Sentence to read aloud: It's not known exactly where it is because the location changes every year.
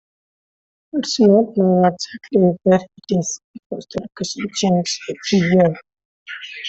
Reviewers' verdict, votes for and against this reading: rejected, 0, 2